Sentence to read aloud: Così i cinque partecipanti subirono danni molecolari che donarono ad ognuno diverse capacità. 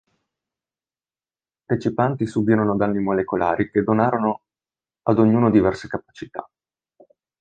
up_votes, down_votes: 0, 2